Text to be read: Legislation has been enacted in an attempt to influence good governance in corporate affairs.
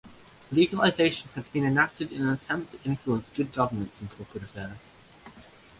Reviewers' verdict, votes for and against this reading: rejected, 0, 2